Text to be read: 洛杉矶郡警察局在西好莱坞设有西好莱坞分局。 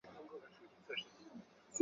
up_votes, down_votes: 0, 2